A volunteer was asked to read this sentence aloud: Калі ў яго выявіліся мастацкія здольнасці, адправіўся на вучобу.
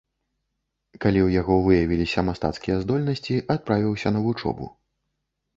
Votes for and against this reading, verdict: 2, 0, accepted